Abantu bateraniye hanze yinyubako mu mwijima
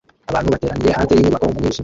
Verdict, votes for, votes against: rejected, 0, 2